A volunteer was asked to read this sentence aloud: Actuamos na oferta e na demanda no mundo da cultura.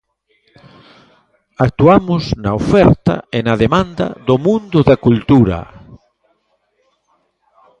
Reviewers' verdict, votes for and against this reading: rejected, 0, 2